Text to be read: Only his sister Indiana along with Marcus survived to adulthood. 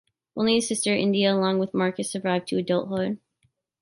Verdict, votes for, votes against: accepted, 2, 1